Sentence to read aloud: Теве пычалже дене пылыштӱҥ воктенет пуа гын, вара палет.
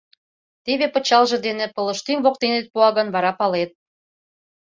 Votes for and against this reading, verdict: 2, 0, accepted